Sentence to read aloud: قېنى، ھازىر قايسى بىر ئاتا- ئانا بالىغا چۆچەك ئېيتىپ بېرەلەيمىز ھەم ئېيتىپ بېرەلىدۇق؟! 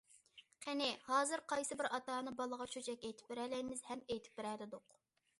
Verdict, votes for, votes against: accepted, 2, 0